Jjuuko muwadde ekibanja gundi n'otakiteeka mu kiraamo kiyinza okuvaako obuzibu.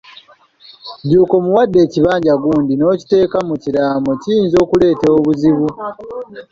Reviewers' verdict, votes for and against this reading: rejected, 0, 2